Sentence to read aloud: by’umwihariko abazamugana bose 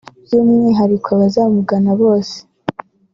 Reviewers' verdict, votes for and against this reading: accepted, 2, 0